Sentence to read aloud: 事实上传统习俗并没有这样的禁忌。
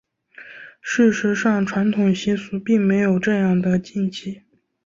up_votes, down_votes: 9, 1